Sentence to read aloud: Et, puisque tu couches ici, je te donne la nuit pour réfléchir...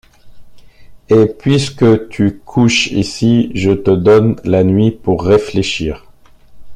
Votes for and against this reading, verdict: 2, 0, accepted